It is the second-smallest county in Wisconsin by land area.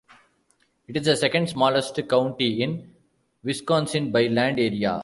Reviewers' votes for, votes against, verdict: 1, 2, rejected